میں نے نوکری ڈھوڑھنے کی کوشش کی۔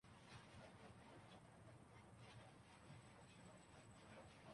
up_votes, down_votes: 0, 2